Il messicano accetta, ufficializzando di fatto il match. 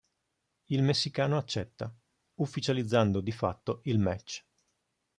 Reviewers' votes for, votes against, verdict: 2, 0, accepted